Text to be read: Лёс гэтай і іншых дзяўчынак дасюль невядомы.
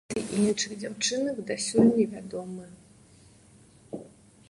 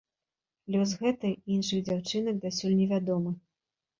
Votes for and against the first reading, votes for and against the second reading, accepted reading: 0, 2, 2, 0, second